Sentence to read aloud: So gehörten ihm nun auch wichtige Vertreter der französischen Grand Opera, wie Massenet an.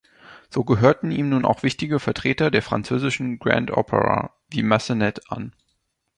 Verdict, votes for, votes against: accepted, 2, 0